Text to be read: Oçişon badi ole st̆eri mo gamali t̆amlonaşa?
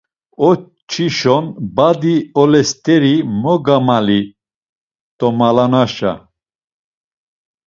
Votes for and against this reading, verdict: 1, 2, rejected